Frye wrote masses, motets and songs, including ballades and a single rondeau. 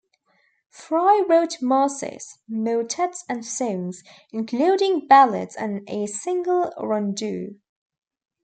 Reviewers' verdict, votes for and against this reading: rejected, 1, 2